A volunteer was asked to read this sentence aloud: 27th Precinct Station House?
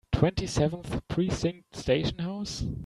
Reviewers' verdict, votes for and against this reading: rejected, 0, 2